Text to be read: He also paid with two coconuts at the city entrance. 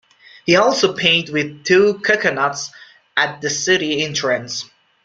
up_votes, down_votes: 1, 2